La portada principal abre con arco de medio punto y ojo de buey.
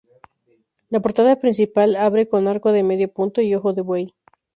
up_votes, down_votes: 0, 2